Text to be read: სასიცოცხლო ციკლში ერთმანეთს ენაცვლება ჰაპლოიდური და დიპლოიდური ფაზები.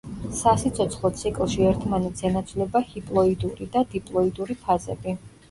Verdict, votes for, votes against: rejected, 1, 2